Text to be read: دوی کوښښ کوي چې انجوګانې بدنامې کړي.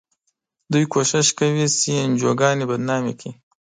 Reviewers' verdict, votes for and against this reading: accepted, 2, 0